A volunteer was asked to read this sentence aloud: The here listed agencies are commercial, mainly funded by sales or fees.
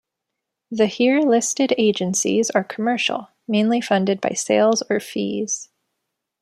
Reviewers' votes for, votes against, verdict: 2, 0, accepted